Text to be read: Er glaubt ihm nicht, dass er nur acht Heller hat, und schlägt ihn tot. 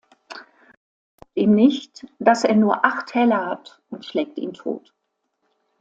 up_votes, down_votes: 0, 2